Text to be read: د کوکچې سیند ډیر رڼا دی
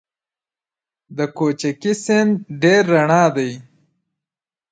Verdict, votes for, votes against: rejected, 3, 4